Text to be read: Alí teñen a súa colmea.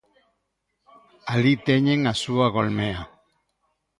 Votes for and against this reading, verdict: 0, 2, rejected